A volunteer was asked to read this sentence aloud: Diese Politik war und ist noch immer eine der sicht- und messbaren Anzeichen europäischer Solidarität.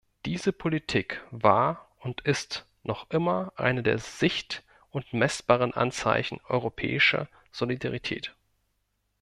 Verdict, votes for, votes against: accepted, 2, 0